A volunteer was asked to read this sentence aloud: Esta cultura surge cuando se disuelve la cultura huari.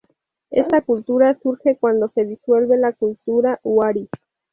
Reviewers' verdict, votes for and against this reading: accepted, 2, 0